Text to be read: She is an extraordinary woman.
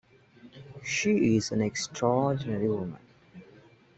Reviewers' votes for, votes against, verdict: 0, 2, rejected